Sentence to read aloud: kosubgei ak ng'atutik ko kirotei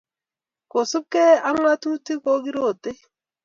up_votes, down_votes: 2, 0